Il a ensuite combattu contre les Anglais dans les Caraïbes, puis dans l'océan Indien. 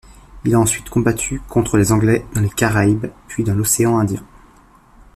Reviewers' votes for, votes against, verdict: 2, 0, accepted